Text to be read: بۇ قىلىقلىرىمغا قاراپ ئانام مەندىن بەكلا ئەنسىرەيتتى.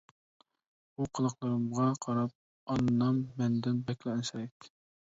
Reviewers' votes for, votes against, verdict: 0, 2, rejected